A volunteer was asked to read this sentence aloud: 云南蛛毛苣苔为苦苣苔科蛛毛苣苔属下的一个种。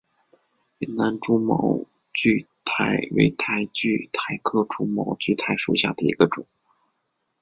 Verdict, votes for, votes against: accepted, 2, 1